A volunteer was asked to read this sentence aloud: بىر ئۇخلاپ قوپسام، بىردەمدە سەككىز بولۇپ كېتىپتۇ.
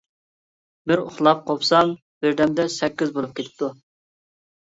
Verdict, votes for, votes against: accepted, 2, 0